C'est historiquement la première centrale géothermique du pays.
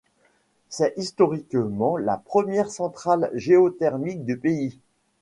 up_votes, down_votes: 2, 0